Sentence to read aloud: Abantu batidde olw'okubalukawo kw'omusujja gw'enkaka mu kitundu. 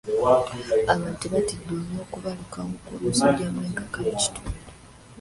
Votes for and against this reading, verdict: 0, 2, rejected